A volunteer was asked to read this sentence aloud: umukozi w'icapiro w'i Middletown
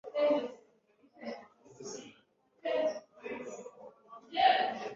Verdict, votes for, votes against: rejected, 0, 2